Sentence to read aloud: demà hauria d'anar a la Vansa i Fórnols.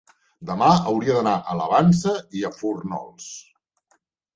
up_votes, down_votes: 0, 2